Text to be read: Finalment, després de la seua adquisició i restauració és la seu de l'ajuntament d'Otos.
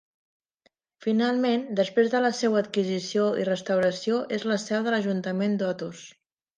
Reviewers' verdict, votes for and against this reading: accepted, 3, 0